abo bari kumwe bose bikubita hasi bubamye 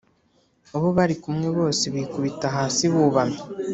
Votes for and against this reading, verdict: 2, 0, accepted